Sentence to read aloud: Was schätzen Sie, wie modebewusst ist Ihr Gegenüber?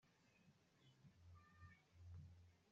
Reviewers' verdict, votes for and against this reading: rejected, 0, 2